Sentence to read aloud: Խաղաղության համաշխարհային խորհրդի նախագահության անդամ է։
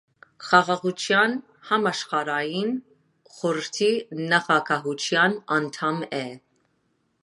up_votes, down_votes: 2, 0